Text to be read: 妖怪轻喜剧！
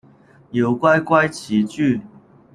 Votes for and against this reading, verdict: 1, 2, rejected